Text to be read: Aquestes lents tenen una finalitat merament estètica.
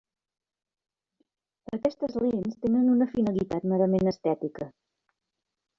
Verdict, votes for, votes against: rejected, 0, 2